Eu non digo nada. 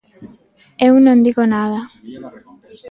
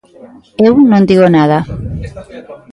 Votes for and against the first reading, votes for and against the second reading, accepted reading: 2, 0, 1, 2, first